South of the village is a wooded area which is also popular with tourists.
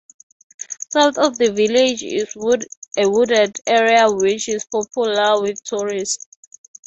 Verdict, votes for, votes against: rejected, 0, 3